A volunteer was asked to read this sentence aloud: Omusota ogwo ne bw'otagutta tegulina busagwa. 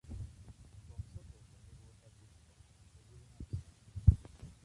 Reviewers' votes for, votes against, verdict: 1, 2, rejected